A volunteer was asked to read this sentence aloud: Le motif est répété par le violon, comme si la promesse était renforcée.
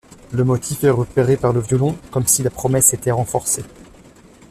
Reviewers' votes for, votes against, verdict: 1, 2, rejected